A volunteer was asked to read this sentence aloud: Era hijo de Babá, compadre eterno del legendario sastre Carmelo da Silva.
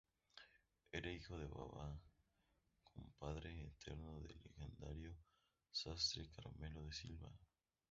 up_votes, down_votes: 2, 0